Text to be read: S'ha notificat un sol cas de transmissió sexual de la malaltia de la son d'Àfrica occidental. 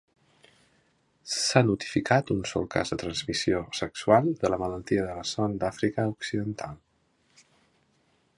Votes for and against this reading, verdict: 2, 0, accepted